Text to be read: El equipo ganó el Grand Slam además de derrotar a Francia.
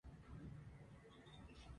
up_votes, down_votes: 0, 4